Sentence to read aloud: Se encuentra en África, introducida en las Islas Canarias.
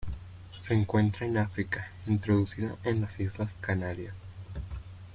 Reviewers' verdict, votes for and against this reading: rejected, 0, 2